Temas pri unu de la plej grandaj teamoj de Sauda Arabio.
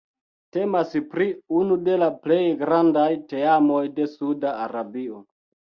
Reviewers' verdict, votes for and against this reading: rejected, 1, 2